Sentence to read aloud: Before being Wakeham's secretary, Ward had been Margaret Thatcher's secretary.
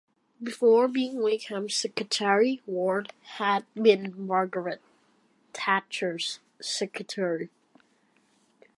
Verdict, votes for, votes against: accepted, 2, 0